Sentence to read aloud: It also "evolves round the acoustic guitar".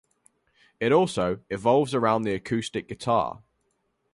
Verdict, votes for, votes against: rejected, 0, 2